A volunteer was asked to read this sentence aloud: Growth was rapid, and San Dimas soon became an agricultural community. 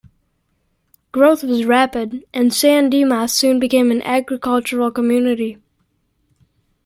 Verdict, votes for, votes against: accepted, 2, 0